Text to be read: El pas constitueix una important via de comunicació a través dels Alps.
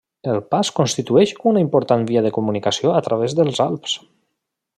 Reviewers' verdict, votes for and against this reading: accepted, 3, 0